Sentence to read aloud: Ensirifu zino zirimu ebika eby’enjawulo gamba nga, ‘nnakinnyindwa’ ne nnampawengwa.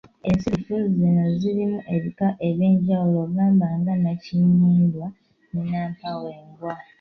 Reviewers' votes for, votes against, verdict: 0, 2, rejected